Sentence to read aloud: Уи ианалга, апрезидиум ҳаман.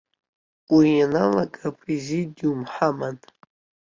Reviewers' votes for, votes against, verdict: 2, 0, accepted